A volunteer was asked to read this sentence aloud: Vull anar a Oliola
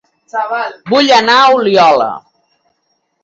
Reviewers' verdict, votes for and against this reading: rejected, 1, 3